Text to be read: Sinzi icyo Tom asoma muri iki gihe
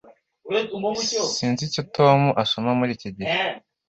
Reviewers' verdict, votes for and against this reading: accepted, 2, 0